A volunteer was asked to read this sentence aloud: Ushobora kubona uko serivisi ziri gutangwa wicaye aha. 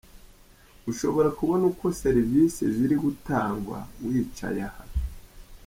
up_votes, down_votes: 2, 0